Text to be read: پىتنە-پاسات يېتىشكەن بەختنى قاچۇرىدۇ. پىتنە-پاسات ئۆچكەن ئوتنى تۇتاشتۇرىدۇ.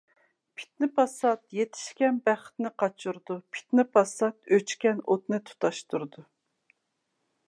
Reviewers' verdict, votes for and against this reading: accepted, 2, 0